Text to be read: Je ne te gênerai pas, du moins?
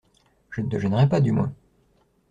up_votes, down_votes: 2, 0